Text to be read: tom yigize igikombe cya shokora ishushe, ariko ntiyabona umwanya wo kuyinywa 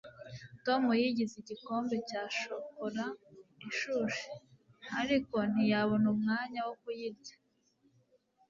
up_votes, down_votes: 1, 2